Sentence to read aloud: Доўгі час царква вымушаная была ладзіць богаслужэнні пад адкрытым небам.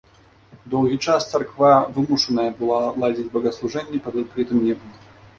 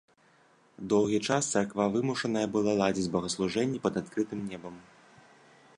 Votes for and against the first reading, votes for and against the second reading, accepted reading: 1, 2, 2, 0, second